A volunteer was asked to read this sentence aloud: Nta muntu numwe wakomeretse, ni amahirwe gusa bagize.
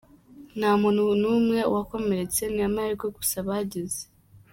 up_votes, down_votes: 2, 0